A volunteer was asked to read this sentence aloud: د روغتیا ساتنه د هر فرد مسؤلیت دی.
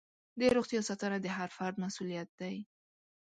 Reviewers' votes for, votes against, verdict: 2, 0, accepted